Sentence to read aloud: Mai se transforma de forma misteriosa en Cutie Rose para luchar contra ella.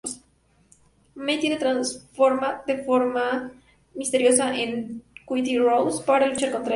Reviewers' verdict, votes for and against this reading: accepted, 2, 0